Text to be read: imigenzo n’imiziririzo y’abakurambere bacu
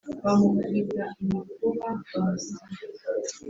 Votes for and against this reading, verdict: 1, 2, rejected